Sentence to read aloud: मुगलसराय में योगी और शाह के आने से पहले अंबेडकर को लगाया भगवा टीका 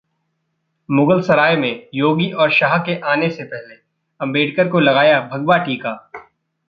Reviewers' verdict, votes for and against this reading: accepted, 2, 1